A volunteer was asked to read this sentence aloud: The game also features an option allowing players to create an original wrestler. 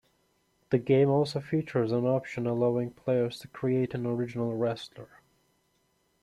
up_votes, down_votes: 2, 0